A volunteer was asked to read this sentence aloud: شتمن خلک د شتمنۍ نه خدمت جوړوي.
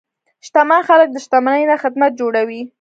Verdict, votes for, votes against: rejected, 0, 2